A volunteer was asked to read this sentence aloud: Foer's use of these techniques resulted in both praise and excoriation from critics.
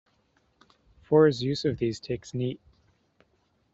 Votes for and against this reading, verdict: 0, 2, rejected